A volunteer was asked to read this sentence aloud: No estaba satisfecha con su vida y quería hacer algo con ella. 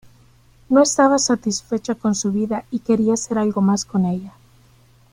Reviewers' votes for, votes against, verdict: 1, 2, rejected